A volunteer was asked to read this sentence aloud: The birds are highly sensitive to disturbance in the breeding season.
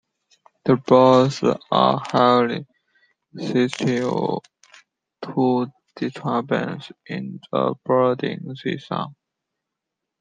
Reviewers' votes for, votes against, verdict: 0, 2, rejected